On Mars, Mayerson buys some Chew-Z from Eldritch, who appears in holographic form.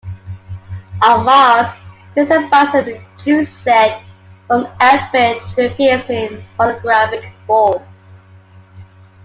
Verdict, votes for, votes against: rejected, 0, 2